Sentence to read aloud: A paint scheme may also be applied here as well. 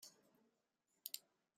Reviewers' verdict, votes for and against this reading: rejected, 0, 2